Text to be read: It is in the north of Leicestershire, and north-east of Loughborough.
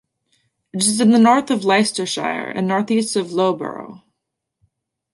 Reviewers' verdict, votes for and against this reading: accepted, 2, 0